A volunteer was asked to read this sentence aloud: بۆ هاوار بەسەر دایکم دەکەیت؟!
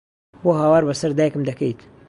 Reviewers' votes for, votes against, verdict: 2, 0, accepted